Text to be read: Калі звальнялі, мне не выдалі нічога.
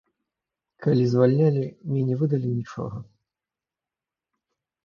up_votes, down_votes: 0, 2